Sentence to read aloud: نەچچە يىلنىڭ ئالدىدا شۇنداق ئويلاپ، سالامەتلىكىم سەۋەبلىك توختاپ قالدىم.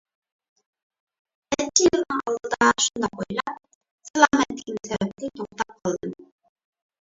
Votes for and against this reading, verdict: 0, 2, rejected